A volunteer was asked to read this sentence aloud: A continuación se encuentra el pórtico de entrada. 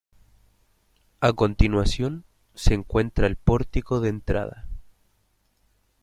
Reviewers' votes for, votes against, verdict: 0, 2, rejected